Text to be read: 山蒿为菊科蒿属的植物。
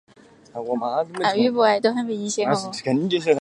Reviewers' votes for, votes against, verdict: 1, 3, rejected